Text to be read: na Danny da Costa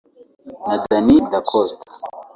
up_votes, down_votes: 1, 2